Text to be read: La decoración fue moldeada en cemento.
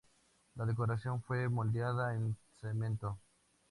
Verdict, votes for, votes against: accepted, 2, 0